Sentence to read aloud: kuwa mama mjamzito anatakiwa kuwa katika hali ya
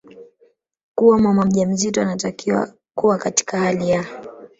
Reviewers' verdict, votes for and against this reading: rejected, 0, 2